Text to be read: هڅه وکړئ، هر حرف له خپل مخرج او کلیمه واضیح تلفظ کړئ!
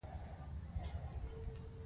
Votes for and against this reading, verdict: 1, 2, rejected